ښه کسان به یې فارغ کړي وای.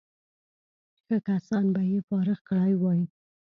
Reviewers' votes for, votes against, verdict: 1, 2, rejected